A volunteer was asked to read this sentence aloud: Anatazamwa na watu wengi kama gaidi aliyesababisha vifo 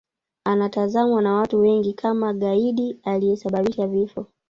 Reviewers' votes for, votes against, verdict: 1, 2, rejected